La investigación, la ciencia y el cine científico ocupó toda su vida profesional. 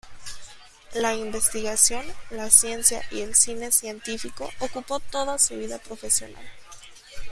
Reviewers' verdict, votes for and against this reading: accepted, 2, 0